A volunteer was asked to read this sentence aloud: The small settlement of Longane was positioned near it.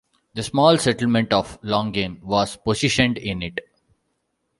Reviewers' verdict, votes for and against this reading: rejected, 0, 2